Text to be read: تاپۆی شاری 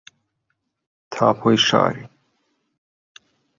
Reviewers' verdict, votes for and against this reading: rejected, 0, 3